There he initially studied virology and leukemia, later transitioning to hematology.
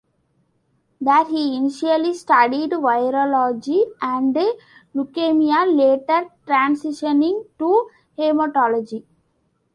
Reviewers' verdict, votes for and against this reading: accepted, 2, 0